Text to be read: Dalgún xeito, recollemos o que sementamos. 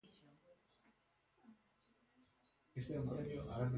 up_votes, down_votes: 0, 2